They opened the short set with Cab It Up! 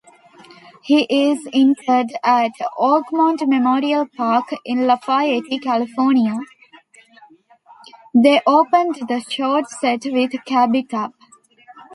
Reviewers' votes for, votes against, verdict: 1, 2, rejected